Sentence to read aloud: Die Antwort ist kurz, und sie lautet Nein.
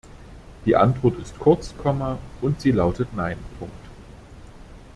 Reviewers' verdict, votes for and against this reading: rejected, 0, 2